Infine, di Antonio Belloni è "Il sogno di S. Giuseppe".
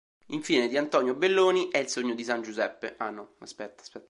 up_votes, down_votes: 1, 2